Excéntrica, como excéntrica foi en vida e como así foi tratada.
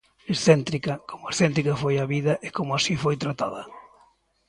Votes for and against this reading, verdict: 0, 2, rejected